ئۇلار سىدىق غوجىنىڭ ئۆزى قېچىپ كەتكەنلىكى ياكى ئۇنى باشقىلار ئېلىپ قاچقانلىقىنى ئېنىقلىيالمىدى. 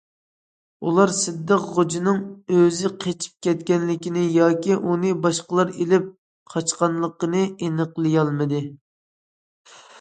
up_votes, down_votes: 0, 2